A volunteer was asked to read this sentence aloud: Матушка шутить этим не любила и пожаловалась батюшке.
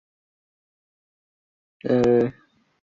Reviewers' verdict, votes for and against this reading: rejected, 0, 2